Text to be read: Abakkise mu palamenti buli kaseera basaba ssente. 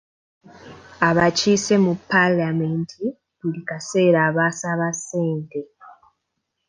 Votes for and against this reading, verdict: 2, 0, accepted